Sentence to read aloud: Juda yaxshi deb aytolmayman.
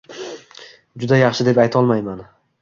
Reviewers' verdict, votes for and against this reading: accepted, 2, 0